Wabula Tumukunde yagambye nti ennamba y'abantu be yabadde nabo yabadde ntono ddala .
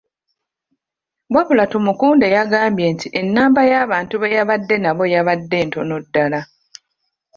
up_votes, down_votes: 2, 1